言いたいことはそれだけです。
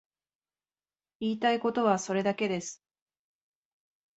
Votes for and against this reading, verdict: 2, 0, accepted